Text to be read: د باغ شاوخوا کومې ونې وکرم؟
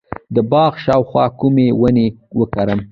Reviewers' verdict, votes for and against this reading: rejected, 1, 2